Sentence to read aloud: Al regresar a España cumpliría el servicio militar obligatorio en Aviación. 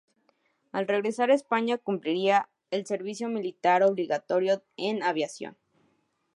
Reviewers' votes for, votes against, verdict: 4, 0, accepted